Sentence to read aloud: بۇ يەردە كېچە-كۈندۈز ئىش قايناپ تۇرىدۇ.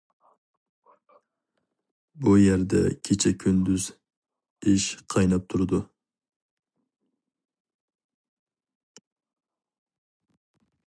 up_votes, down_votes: 2, 0